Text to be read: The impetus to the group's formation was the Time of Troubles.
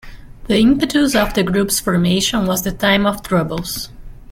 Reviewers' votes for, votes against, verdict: 1, 2, rejected